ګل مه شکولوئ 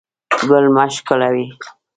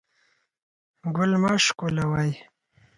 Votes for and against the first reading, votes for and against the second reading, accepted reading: 0, 2, 4, 0, second